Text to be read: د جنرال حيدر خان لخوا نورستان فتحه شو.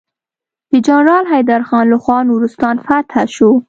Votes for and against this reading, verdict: 2, 0, accepted